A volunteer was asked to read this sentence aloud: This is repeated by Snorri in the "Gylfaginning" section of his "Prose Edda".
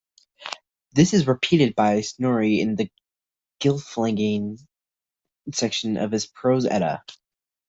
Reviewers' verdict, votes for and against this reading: rejected, 0, 2